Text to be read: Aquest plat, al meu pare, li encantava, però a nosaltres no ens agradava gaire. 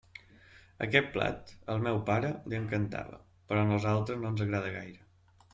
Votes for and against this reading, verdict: 0, 2, rejected